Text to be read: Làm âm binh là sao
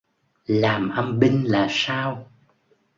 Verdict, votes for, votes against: accepted, 2, 0